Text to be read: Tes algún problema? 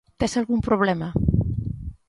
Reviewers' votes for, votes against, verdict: 2, 0, accepted